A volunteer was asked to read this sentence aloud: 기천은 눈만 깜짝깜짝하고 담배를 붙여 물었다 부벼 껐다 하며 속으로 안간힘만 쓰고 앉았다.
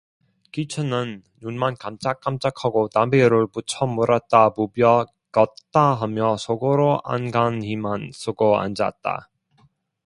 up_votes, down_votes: 0, 2